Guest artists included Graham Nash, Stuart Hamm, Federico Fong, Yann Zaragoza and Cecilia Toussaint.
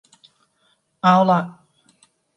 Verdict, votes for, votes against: rejected, 0, 2